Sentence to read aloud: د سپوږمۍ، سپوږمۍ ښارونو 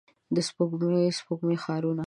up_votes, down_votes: 1, 2